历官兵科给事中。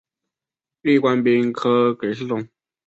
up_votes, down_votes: 2, 1